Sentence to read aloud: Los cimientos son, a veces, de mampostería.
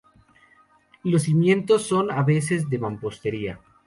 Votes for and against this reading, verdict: 2, 0, accepted